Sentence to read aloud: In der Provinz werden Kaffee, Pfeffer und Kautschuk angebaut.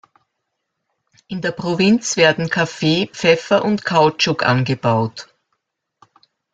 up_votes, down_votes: 2, 0